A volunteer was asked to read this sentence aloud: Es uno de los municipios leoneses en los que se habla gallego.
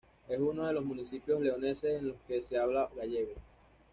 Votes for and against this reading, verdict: 1, 2, rejected